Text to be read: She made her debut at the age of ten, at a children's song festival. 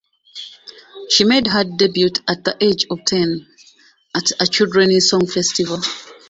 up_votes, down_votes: 0, 2